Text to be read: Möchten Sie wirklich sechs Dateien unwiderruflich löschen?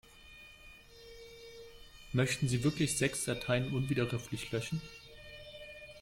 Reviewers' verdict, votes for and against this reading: rejected, 1, 2